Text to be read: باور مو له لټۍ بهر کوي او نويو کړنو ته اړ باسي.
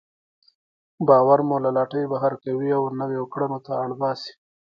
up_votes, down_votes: 2, 1